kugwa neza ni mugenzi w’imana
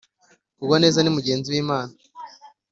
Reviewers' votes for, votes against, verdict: 2, 0, accepted